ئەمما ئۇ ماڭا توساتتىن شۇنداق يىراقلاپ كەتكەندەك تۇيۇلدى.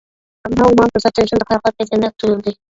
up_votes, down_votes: 0, 2